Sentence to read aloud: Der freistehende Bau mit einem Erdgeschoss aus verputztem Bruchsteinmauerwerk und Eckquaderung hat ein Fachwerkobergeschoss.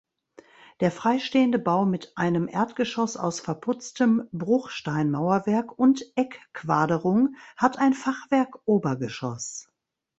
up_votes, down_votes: 2, 0